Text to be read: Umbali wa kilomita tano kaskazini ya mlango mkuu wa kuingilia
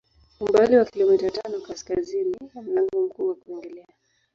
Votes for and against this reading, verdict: 5, 4, accepted